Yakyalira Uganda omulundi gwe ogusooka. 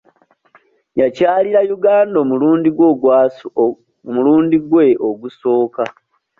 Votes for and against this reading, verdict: 0, 2, rejected